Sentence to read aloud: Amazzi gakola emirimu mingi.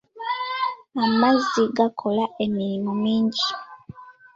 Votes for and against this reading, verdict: 2, 1, accepted